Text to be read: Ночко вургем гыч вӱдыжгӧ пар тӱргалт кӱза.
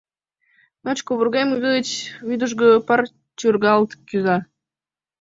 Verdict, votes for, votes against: rejected, 0, 2